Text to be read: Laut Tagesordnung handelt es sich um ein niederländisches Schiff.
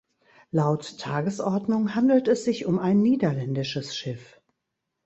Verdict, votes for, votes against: accepted, 2, 0